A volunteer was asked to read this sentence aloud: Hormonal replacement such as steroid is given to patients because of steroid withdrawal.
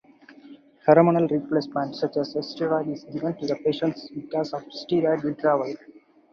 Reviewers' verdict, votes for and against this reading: accepted, 4, 0